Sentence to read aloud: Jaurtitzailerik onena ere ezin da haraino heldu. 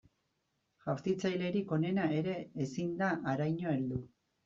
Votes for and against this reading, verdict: 2, 0, accepted